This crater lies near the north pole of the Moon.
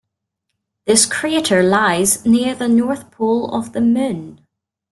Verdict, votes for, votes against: accepted, 2, 0